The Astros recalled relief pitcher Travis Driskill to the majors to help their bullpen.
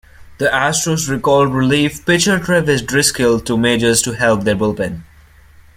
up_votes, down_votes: 0, 2